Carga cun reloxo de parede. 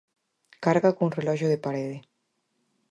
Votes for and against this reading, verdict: 4, 0, accepted